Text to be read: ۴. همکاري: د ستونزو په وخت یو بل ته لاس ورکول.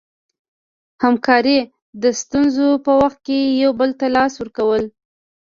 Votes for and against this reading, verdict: 0, 2, rejected